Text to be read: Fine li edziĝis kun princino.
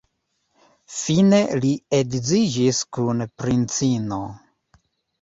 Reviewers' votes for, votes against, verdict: 2, 0, accepted